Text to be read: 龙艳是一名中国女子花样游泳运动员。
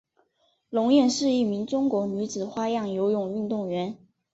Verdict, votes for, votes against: accepted, 4, 0